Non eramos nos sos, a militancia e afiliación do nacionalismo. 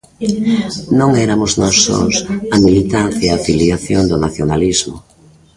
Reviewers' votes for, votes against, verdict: 0, 2, rejected